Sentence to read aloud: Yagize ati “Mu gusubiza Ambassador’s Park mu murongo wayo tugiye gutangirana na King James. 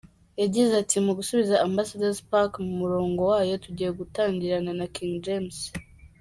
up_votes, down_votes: 2, 1